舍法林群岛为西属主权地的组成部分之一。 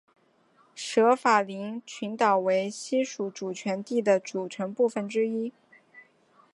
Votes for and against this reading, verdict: 6, 0, accepted